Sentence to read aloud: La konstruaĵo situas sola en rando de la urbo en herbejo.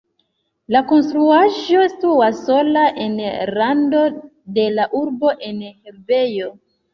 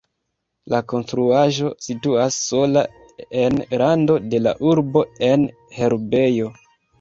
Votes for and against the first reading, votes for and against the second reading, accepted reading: 2, 1, 1, 2, first